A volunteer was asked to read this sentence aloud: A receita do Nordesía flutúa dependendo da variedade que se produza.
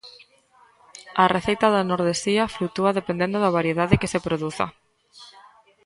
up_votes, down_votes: 1, 2